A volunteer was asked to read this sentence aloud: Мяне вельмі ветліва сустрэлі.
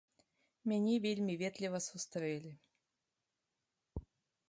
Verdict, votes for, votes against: accepted, 2, 0